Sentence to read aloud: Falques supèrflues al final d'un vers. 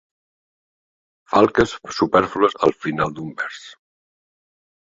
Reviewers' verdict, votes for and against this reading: accepted, 3, 0